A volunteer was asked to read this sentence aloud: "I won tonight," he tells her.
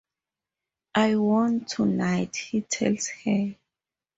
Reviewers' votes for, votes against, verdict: 2, 2, rejected